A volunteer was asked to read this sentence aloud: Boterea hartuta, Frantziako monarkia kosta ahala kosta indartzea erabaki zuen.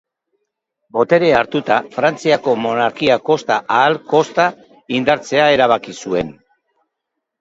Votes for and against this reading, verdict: 0, 2, rejected